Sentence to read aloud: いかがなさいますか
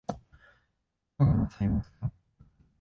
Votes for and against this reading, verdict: 3, 4, rejected